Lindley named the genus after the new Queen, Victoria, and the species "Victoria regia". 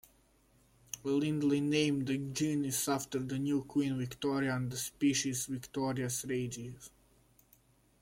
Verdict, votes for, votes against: rejected, 0, 2